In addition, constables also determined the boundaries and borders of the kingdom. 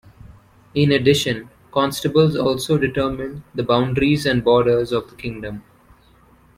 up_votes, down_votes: 2, 0